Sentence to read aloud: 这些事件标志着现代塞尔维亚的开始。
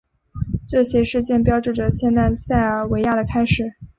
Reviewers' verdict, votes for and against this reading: accepted, 4, 0